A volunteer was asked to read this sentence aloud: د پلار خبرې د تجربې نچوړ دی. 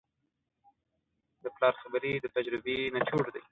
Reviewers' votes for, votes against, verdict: 1, 2, rejected